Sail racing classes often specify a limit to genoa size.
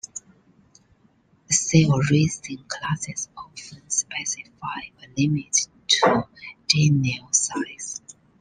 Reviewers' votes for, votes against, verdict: 1, 2, rejected